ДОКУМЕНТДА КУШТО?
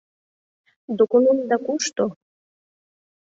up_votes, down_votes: 2, 0